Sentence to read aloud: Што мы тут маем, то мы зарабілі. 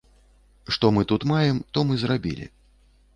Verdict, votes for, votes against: rejected, 0, 2